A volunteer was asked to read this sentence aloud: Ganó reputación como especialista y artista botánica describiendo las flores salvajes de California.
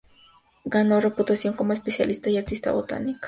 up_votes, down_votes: 0, 2